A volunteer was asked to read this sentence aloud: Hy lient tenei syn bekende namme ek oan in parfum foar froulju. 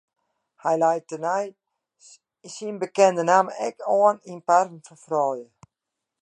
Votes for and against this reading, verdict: 0, 2, rejected